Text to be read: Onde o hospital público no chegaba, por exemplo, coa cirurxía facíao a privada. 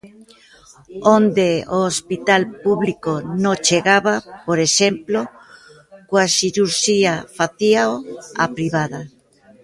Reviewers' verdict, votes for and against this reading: rejected, 0, 2